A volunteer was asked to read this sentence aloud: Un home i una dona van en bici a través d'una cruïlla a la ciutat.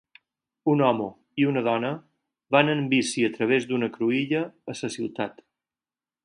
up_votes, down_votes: 4, 2